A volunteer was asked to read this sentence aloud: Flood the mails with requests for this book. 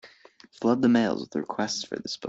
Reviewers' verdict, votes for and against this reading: rejected, 0, 2